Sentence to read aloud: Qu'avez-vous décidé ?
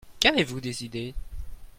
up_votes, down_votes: 2, 0